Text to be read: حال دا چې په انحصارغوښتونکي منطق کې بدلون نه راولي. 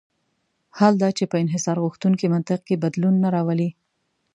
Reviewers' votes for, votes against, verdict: 2, 0, accepted